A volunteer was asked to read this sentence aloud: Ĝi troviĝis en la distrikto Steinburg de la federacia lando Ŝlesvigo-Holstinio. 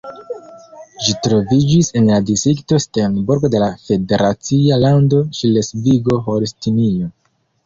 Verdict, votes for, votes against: accepted, 2, 0